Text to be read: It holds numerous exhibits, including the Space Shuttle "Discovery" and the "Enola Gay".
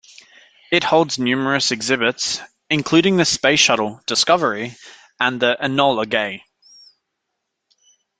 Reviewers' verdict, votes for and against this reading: accepted, 2, 0